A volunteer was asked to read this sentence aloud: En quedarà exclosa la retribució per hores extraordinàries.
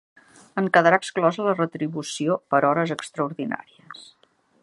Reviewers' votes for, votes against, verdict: 2, 0, accepted